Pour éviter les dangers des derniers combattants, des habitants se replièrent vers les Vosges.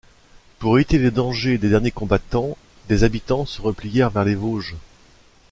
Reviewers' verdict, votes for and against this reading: rejected, 1, 2